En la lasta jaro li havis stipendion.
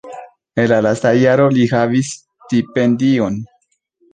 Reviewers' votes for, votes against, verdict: 2, 0, accepted